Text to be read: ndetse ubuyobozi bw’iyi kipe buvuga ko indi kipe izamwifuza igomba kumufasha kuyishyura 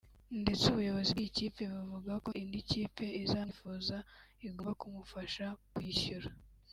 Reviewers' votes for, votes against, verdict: 2, 1, accepted